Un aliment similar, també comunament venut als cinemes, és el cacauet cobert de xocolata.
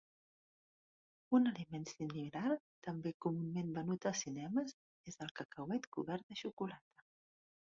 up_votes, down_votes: 1, 2